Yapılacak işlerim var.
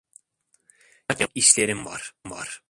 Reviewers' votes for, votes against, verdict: 0, 2, rejected